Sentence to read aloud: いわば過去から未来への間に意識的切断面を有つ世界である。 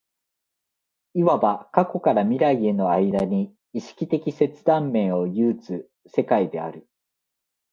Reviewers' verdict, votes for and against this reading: accepted, 2, 0